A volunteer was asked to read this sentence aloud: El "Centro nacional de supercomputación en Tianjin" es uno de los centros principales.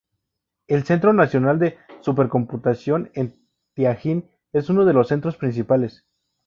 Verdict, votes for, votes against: accepted, 2, 0